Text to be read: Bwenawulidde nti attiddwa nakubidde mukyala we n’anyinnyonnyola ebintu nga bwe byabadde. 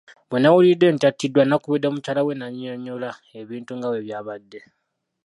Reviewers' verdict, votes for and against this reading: rejected, 1, 2